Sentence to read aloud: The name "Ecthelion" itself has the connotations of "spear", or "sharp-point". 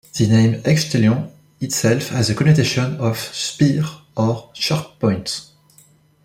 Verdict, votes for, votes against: rejected, 1, 2